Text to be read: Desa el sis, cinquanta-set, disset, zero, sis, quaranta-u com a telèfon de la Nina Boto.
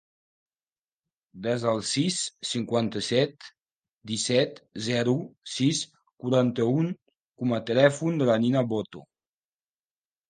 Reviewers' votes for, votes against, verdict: 1, 2, rejected